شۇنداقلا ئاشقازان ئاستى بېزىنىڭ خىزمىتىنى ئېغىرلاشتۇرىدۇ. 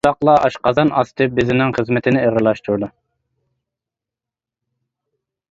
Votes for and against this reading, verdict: 1, 2, rejected